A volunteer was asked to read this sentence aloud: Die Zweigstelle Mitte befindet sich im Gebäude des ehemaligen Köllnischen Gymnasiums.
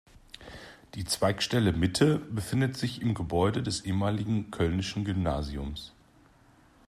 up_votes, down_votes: 2, 0